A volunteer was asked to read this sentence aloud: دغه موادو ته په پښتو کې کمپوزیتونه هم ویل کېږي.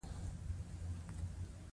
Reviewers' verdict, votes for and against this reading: rejected, 1, 2